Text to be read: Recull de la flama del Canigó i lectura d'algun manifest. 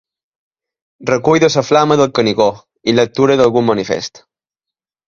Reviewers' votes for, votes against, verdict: 0, 2, rejected